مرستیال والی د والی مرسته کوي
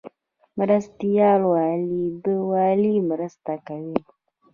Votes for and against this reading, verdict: 2, 0, accepted